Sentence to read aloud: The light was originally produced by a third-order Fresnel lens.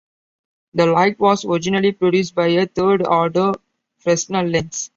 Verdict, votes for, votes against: accepted, 3, 0